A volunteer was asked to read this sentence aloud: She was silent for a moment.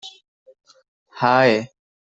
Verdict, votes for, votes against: rejected, 1, 2